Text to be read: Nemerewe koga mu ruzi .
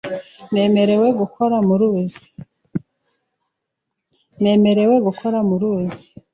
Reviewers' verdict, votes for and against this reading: rejected, 0, 2